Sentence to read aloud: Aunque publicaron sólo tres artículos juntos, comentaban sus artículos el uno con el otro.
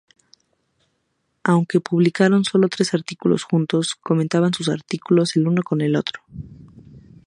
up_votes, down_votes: 2, 2